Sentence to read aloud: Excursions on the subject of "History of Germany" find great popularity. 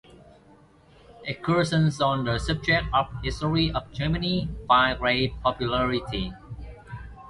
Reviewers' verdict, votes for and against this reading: rejected, 0, 2